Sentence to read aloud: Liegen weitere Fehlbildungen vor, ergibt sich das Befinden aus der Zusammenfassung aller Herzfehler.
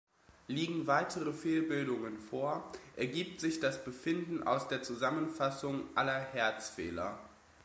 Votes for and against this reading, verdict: 2, 0, accepted